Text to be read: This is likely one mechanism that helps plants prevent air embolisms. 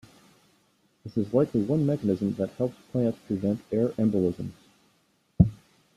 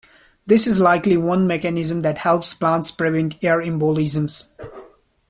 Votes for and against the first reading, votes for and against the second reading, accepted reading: 0, 2, 2, 0, second